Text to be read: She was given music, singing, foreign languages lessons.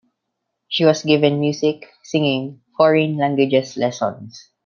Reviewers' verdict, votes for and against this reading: accepted, 2, 0